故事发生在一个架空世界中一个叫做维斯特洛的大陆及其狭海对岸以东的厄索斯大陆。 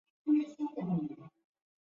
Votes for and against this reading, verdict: 0, 2, rejected